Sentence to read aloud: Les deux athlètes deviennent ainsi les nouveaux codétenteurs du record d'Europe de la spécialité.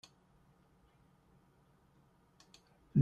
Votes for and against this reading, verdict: 0, 2, rejected